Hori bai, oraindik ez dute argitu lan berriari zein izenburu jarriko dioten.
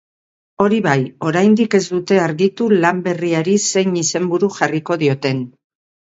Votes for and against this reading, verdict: 2, 0, accepted